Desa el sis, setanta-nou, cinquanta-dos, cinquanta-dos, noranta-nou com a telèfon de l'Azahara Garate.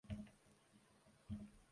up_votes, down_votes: 0, 2